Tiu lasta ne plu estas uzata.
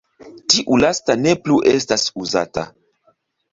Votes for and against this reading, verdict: 2, 0, accepted